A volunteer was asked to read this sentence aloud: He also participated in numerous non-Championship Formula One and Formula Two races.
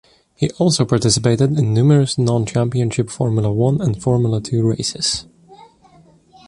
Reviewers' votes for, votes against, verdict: 2, 0, accepted